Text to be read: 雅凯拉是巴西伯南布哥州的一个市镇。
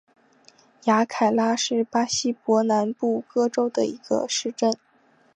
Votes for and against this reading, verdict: 2, 0, accepted